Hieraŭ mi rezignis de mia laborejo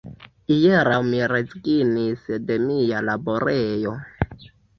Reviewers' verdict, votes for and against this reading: accepted, 2, 1